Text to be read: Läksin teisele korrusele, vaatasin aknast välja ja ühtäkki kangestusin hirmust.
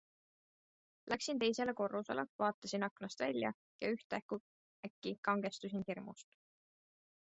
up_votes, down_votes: 2, 0